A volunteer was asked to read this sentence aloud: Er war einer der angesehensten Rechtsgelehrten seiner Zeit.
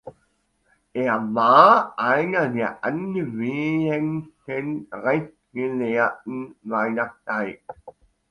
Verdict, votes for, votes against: accepted, 2, 1